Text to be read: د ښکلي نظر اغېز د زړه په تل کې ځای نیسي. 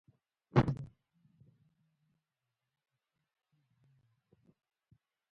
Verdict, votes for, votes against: rejected, 1, 2